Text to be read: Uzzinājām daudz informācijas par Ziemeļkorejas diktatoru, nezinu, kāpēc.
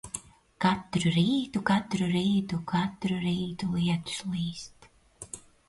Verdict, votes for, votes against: rejected, 0, 2